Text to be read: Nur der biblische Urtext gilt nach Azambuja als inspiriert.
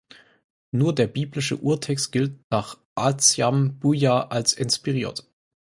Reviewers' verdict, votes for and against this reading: rejected, 0, 4